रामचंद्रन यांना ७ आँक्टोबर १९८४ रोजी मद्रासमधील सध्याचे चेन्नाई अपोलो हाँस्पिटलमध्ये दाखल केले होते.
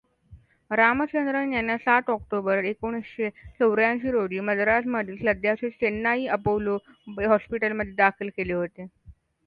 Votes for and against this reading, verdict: 0, 2, rejected